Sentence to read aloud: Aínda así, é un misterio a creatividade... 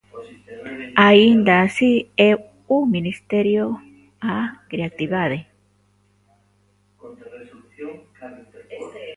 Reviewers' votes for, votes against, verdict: 0, 2, rejected